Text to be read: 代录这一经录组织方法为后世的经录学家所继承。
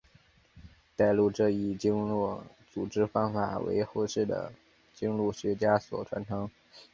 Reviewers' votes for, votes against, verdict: 2, 1, accepted